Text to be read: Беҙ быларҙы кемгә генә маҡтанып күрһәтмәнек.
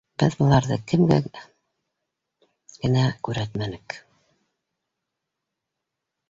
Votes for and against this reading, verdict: 2, 1, accepted